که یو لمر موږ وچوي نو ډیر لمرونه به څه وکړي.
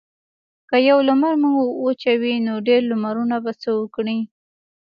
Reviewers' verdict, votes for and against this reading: accepted, 2, 0